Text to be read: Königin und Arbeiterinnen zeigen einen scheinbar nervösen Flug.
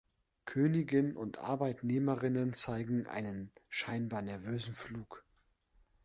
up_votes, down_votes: 1, 2